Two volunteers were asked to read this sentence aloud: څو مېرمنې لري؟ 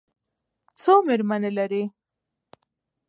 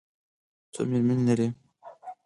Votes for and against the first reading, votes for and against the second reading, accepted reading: 1, 2, 4, 2, second